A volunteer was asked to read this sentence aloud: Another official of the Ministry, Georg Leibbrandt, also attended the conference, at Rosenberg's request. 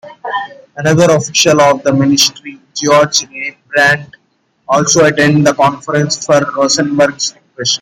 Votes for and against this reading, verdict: 1, 2, rejected